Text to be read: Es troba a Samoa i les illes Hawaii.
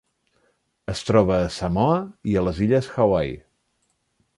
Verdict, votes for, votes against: accepted, 3, 2